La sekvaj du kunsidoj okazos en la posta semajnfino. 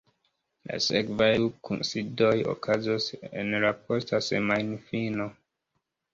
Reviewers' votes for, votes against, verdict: 0, 2, rejected